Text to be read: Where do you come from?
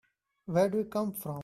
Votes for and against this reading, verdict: 3, 1, accepted